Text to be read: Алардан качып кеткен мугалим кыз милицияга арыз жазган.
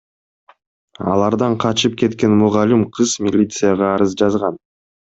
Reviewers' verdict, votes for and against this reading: accepted, 2, 0